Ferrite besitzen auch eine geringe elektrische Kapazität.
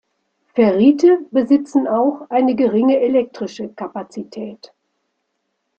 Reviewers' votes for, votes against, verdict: 2, 0, accepted